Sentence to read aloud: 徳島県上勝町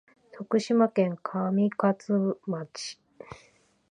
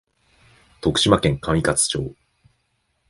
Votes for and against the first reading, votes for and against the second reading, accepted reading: 0, 2, 2, 0, second